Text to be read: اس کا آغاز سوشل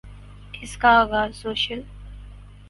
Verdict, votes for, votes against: accepted, 4, 0